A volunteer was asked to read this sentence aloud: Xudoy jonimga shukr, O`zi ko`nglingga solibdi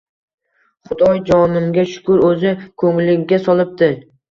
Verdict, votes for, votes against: accepted, 2, 0